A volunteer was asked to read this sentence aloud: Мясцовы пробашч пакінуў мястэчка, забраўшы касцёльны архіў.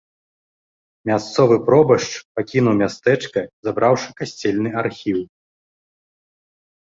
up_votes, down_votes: 1, 3